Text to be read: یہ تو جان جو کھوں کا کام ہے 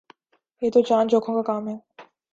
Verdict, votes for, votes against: accepted, 3, 0